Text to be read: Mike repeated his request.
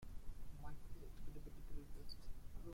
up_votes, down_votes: 0, 2